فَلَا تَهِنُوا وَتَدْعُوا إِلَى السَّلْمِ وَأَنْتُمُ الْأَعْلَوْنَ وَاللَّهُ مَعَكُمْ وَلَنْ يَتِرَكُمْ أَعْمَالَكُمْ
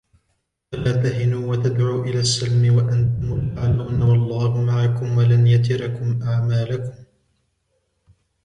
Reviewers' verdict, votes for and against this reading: accepted, 2, 0